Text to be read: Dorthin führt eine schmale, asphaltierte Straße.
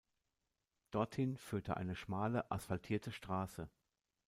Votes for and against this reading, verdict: 1, 2, rejected